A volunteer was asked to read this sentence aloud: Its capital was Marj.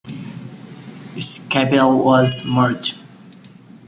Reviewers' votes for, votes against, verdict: 2, 0, accepted